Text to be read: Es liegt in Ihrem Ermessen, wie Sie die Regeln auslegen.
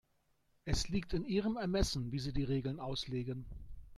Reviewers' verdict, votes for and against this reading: accepted, 2, 1